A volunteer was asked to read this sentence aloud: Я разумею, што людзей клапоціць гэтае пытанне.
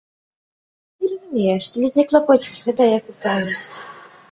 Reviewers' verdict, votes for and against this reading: rejected, 0, 2